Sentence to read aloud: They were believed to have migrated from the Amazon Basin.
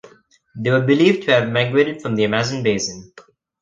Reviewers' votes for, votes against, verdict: 2, 1, accepted